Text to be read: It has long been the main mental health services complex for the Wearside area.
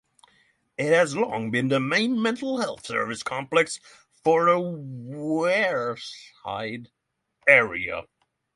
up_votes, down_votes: 3, 3